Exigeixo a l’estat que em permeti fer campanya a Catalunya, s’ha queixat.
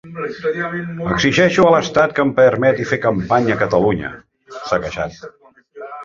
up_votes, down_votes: 2, 4